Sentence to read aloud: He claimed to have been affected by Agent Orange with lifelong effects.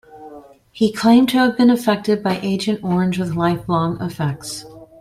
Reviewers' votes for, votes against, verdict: 3, 0, accepted